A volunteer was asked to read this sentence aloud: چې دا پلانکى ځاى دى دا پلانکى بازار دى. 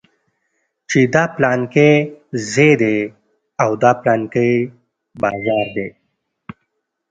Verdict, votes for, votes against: accepted, 2, 0